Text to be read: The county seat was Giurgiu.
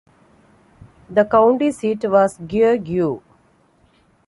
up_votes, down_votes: 2, 1